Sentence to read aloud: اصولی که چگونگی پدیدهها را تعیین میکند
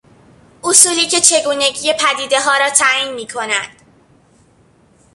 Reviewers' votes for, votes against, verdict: 2, 0, accepted